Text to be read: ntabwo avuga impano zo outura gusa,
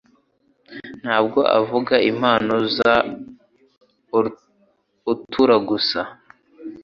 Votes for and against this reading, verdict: 3, 4, rejected